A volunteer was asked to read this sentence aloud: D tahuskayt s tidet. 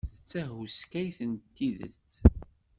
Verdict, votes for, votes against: rejected, 1, 2